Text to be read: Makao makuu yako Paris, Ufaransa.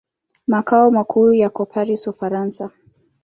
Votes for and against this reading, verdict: 2, 0, accepted